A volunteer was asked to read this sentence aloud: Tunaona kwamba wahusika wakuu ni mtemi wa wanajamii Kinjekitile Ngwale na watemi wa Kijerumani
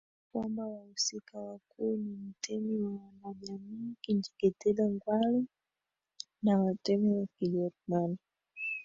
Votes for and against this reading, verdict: 0, 2, rejected